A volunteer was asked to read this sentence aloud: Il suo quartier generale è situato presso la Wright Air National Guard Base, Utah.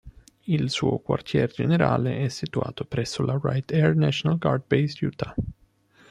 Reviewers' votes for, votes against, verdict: 3, 0, accepted